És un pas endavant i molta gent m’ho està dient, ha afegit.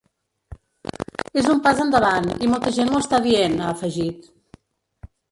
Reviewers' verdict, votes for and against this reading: rejected, 1, 2